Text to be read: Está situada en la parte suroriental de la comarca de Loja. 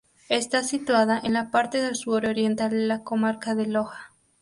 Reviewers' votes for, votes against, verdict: 0, 2, rejected